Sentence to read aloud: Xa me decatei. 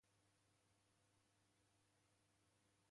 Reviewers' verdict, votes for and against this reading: rejected, 0, 2